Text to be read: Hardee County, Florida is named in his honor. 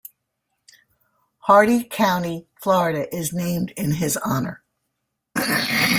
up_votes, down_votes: 2, 0